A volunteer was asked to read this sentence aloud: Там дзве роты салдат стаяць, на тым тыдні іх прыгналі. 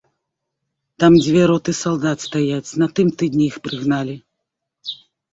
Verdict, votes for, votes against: accepted, 3, 0